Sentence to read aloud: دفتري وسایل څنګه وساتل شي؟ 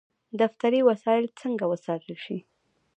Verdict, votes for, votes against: rejected, 1, 2